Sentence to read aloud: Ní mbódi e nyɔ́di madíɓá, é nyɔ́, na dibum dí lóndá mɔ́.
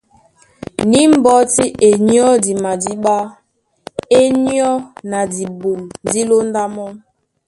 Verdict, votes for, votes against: rejected, 0, 2